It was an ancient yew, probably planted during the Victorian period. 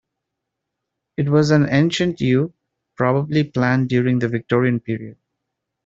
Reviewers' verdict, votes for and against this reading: accepted, 2, 1